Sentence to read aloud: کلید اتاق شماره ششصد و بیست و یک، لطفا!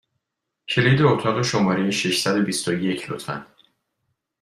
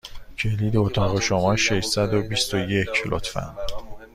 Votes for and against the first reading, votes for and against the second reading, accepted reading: 2, 0, 1, 2, first